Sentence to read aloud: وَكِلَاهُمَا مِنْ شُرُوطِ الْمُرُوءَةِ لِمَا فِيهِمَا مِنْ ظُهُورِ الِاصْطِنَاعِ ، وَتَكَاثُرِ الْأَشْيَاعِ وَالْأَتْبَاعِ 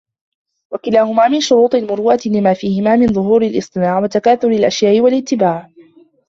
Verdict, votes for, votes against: rejected, 1, 2